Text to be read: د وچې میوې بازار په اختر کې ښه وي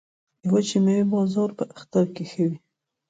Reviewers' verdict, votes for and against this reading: accepted, 2, 0